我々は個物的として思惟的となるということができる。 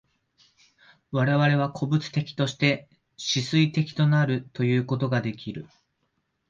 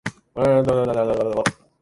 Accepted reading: first